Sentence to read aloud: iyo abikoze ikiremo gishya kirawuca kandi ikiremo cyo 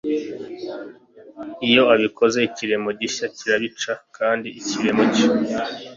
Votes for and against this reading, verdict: 3, 0, accepted